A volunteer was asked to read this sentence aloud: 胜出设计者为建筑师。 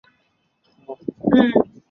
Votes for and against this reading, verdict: 0, 4, rejected